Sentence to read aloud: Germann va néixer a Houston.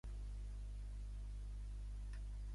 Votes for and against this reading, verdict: 0, 2, rejected